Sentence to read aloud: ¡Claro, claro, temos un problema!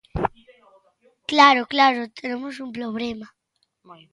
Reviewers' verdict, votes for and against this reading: rejected, 0, 2